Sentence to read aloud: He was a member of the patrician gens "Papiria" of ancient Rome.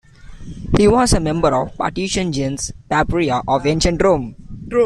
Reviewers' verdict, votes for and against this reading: rejected, 0, 2